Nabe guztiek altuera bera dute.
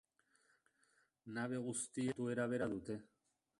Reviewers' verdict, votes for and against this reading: rejected, 0, 3